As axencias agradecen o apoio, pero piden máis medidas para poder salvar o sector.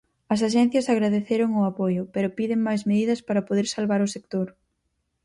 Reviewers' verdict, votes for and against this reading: rejected, 0, 4